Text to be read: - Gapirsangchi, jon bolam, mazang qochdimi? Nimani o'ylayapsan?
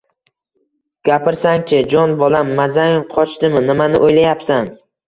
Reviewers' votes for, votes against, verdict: 1, 2, rejected